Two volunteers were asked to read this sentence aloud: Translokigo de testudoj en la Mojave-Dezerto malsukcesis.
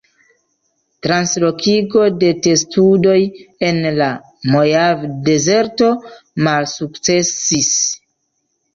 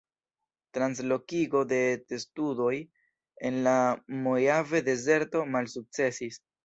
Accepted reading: first